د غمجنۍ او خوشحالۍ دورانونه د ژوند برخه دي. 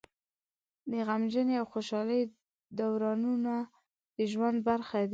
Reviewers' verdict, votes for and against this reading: rejected, 0, 2